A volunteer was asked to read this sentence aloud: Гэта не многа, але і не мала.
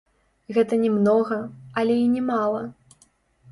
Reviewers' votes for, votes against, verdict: 1, 2, rejected